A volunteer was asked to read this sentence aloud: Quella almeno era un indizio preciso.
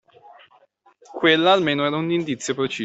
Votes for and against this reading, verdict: 0, 2, rejected